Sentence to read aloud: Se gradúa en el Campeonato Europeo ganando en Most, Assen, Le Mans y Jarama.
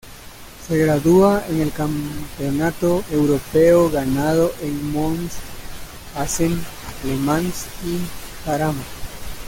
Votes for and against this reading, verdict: 0, 2, rejected